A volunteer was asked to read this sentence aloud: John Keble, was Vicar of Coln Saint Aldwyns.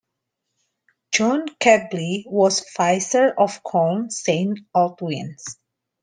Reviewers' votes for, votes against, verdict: 1, 2, rejected